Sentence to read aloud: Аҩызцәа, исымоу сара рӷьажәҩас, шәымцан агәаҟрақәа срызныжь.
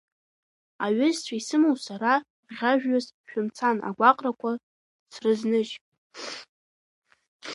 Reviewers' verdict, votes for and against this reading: rejected, 1, 2